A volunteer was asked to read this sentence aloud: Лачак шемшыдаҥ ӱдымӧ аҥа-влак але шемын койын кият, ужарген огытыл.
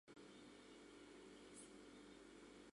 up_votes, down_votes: 0, 2